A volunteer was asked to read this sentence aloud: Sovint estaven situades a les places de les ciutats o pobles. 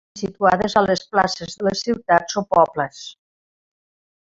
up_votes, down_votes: 0, 2